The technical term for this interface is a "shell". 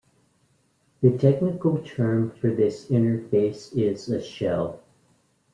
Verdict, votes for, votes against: accepted, 2, 0